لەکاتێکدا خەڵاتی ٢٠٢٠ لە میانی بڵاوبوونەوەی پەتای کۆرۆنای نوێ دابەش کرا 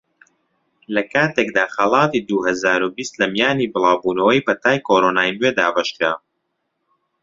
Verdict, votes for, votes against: rejected, 0, 2